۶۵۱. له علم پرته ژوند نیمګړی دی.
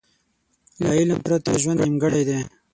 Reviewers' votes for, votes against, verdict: 0, 2, rejected